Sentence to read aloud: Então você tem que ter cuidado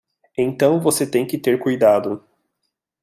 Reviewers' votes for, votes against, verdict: 2, 0, accepted